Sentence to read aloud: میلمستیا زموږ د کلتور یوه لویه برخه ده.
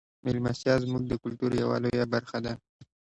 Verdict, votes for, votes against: rejected, 1, 2